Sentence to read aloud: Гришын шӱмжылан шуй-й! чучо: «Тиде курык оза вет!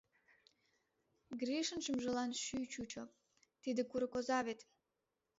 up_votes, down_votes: 2, 0